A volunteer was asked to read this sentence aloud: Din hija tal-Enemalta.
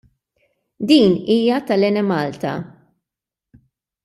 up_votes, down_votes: 2, 0